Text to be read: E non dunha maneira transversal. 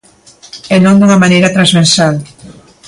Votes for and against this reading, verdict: 2, 1, accepted